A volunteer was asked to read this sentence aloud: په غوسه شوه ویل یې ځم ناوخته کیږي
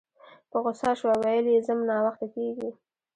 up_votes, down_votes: 2, 1